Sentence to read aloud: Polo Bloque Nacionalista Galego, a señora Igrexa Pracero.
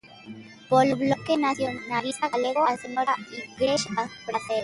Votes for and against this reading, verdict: 0, 3, rejected